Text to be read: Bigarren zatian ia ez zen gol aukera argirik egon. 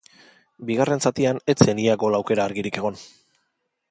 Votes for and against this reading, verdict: 1, 2, rejected